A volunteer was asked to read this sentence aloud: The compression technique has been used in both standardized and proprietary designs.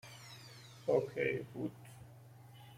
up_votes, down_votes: 0, 2